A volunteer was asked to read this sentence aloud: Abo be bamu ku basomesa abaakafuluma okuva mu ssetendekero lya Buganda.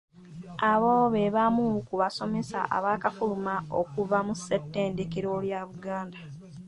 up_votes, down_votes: 2, 0